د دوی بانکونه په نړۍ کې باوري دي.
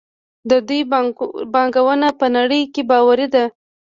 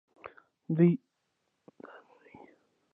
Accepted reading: second